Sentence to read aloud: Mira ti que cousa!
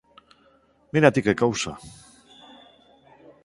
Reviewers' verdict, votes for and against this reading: accepted, 4, 0